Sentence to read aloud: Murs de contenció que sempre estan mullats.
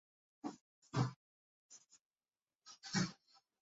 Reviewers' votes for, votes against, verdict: 0, 2, rejected